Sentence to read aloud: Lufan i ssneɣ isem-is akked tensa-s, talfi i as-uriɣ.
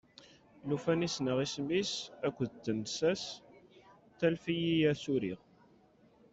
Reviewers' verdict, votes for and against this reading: rejected, 0, 2